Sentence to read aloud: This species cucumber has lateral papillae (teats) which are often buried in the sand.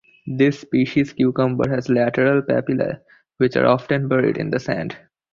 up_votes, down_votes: 0, 2